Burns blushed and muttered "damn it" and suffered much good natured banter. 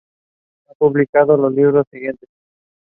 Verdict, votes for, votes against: rejected, 0, 2